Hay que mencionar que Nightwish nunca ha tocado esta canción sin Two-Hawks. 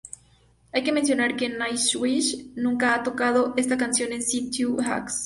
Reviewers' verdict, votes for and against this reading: rejected, 0, 2